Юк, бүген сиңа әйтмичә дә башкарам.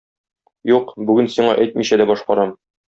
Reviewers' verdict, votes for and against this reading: accepted, 2, 0